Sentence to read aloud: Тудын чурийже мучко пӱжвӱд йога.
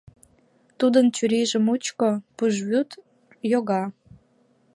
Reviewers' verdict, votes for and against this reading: rejected, 1, 2